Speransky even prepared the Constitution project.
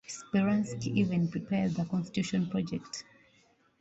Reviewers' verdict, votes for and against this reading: accepted, 2, 1